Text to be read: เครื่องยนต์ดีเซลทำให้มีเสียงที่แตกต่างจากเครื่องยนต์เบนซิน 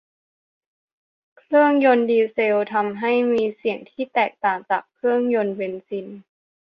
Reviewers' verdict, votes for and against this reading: accepted, 2, 0